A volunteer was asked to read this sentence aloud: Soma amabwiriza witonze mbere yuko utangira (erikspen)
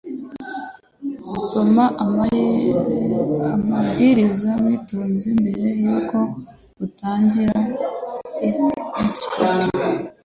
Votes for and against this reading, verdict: 1, 2, rejected